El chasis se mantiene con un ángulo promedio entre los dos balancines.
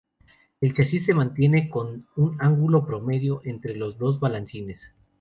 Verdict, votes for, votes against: accepted, 2, 0